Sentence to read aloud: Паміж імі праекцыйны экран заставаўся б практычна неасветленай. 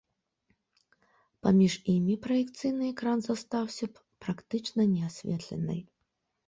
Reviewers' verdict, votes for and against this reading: rejected, 1, 2